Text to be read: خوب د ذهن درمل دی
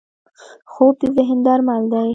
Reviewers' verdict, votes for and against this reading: accepted, 2, 1